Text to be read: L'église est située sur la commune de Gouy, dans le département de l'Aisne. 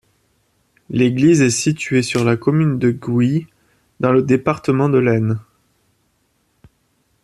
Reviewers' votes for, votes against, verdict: 2, 0, accepted